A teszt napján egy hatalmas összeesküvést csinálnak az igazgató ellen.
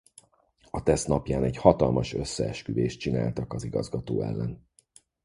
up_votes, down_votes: 2, 4